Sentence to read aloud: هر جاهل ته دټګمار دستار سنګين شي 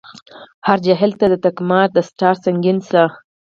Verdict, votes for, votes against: rejected, 2, 4